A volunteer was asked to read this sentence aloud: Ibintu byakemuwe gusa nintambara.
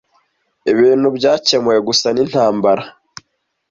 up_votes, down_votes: 2, 0